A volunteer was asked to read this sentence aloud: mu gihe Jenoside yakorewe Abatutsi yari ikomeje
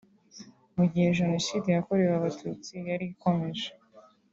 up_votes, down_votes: 2, 0